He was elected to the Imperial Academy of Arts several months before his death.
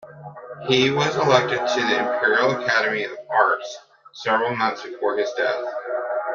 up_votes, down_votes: 0, 2